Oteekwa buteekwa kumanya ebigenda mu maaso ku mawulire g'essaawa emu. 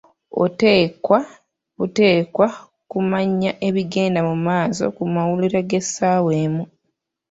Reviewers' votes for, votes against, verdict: 0, 2, rejected